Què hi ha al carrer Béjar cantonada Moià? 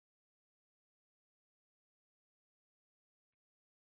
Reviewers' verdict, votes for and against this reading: rejected, 0, 2